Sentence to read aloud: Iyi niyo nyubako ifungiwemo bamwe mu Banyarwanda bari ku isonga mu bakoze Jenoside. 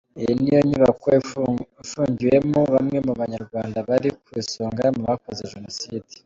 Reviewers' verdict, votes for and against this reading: accepted, 2, 1